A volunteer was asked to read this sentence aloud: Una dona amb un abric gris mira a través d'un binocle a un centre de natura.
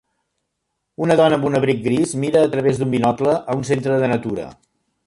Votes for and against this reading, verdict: 2, 1, accepted